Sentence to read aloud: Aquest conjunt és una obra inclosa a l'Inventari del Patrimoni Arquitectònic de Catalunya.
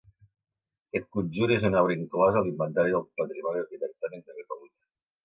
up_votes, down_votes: 0, 2